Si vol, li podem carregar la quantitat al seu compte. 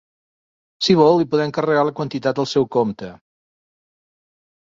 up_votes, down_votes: 4, 0